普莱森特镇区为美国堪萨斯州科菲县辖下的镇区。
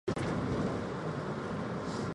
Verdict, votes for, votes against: rejected, 0, 3